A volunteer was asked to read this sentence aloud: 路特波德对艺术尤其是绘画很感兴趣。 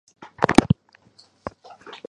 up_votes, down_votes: 0, 3